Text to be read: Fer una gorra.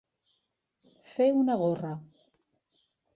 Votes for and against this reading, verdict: 2, 0, accepted